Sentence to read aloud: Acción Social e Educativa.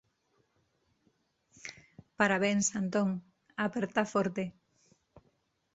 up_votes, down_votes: 0, 2